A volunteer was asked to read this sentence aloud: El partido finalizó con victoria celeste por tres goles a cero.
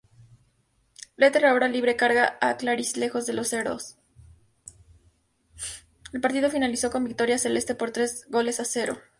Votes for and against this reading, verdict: 0, 2, rejected